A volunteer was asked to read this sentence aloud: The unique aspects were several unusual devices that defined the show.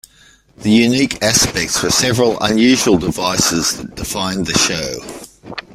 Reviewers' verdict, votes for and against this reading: accepted, 2, 0